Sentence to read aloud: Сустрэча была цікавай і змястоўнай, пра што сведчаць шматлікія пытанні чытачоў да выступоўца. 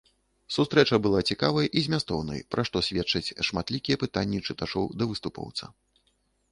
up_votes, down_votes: 2, 0